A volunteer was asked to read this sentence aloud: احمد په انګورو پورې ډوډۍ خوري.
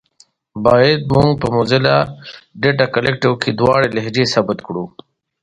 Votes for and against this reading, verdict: 1, 2, rejected